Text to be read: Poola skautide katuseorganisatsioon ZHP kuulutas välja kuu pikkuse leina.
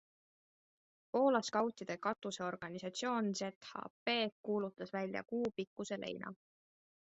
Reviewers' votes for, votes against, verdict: 2, 0, accepted